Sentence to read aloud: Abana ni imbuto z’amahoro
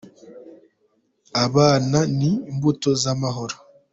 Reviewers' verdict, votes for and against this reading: accepted, 2, 0